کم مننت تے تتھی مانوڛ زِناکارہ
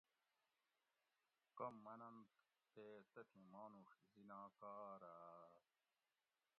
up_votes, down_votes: 1, 2